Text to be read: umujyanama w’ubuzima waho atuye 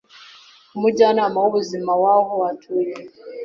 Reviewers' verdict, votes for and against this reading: accepted, 2, 0